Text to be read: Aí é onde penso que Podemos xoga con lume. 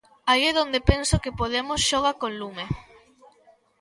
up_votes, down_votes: 1, 2